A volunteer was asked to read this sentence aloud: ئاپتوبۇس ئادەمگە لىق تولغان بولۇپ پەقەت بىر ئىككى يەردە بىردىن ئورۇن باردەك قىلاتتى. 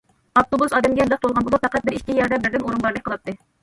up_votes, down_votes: 1, 2